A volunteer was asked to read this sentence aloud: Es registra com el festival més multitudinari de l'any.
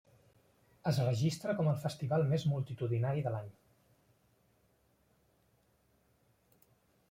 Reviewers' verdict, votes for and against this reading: accepted, 3, 1